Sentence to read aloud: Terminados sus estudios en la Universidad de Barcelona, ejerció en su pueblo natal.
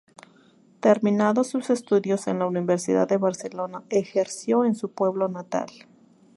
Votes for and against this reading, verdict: 2, 0, accepted